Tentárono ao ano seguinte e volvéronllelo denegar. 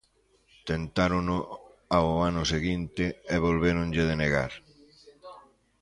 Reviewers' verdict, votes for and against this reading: rejected, 0, 2